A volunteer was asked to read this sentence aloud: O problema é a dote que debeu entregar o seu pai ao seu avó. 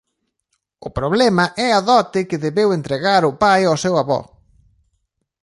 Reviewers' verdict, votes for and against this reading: rejected, 0, 2